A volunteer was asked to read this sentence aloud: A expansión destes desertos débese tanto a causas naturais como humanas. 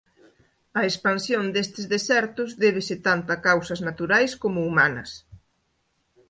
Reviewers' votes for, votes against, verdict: 2, 0, accepted